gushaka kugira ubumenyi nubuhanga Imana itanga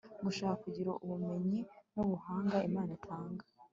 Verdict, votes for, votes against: accepted, 2, 0